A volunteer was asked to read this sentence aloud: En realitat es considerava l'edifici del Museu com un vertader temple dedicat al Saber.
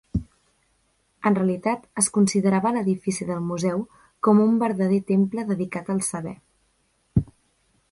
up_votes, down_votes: 1, 2